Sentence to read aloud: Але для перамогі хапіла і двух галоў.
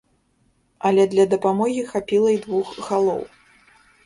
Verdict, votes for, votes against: rejected, 0, 3